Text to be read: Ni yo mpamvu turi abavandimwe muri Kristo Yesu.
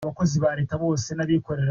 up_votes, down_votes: 0, 2